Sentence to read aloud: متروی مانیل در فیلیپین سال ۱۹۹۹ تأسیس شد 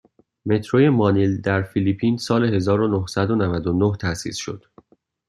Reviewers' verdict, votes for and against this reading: rejected, 0, 2